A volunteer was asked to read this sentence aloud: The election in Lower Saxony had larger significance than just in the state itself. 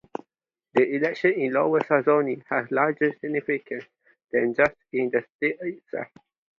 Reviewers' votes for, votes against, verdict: 0, 2, rejected